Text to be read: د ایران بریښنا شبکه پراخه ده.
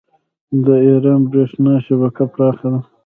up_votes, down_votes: 1, 2